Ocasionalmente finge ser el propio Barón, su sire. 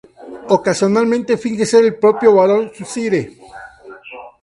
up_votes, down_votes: 0, 4